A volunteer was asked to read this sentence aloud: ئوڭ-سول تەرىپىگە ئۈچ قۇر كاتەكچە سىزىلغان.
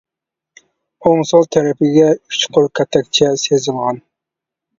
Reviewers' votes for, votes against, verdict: 1, 2, rejected